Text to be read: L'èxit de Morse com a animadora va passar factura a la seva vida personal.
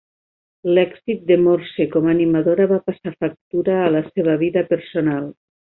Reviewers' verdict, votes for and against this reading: accepted, 3, 0